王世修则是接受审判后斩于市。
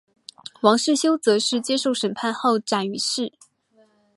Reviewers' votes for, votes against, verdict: 5, 0, accepted